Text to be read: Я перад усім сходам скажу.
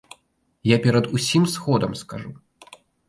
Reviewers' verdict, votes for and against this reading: accepted, 2, 0